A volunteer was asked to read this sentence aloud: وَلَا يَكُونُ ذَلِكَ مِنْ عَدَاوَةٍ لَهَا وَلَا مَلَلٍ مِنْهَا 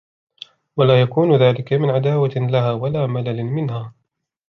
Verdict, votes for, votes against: accepted, 2, 0